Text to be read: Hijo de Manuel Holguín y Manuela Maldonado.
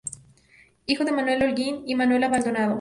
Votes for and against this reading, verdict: 2, 0, accepted